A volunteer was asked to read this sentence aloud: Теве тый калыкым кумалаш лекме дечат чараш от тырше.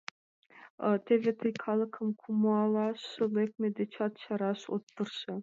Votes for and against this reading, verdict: 2, 0, accepted